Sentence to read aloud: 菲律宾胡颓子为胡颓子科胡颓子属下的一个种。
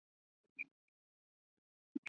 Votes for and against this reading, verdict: 1, 7, rejected